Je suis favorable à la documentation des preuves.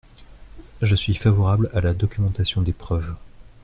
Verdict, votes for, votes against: accepted, 2, 0